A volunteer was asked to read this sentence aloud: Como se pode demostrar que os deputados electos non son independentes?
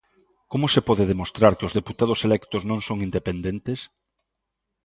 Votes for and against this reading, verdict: 2, 0, accepted